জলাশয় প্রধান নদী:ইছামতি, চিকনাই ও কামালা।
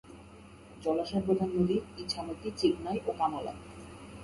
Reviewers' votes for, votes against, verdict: 0, 2, rejected